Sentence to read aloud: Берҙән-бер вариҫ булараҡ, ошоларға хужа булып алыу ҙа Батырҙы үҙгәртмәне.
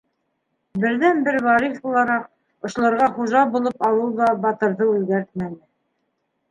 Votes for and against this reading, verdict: 3, 0, accepted